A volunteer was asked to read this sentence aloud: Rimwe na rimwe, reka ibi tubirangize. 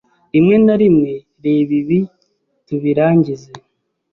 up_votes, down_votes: 1, 2